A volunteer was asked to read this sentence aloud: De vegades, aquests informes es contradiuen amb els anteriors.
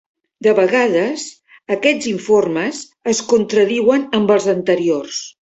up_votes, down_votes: 3, 0